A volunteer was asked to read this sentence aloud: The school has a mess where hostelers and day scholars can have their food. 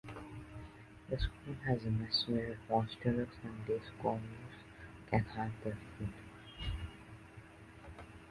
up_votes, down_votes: 0, 2